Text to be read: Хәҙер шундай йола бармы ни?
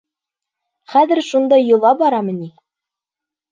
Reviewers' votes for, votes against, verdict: 1, 2, rejected